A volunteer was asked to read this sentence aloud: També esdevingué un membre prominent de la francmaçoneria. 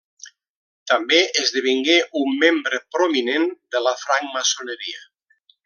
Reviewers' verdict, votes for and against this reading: accepted, 2, 0